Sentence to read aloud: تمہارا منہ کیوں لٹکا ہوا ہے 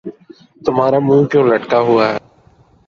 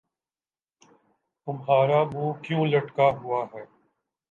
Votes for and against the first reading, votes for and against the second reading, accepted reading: 2, 2, 2, 0, second